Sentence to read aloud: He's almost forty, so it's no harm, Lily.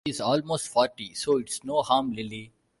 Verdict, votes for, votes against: accepted, 2, 0